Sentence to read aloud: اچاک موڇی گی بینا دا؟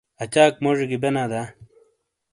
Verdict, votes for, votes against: accepted, 2, 0